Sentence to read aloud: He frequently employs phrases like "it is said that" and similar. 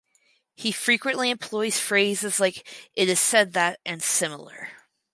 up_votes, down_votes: 4, 0